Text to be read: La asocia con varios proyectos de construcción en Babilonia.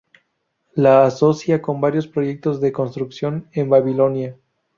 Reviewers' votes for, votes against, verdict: 0, 2, rejected